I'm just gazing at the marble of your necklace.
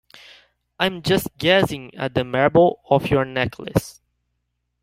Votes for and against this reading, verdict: 2, 0, accepted